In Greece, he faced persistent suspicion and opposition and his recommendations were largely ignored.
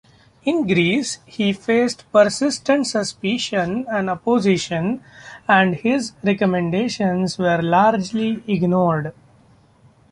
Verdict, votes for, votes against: accepted, 2, 0